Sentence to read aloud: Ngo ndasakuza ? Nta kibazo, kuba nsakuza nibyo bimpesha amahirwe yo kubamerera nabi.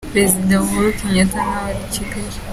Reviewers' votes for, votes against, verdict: 0, 3, rejected